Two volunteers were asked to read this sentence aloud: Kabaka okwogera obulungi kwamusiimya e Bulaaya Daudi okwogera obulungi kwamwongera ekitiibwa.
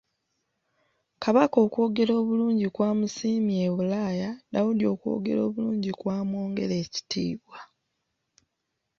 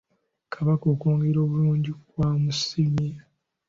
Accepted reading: first